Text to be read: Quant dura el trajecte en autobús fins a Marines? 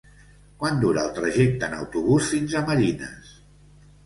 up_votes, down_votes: 2, 1